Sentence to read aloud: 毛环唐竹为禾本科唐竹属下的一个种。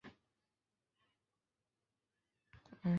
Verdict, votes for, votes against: rejected, 0, 2